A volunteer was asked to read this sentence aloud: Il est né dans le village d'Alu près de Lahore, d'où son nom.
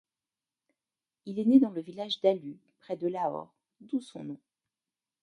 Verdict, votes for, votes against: accepted, 2, 0